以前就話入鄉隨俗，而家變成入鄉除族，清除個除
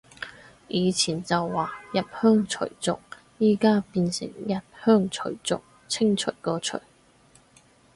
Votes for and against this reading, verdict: 2, 4, rejected